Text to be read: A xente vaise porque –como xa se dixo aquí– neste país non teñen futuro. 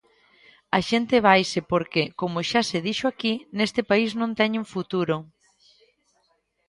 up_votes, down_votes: 2, 0